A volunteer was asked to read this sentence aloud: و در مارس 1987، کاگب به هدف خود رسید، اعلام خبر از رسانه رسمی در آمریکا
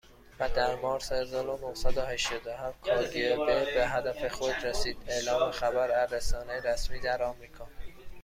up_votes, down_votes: 0, 2